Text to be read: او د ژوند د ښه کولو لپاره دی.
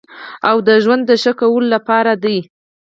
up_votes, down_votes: 2, 4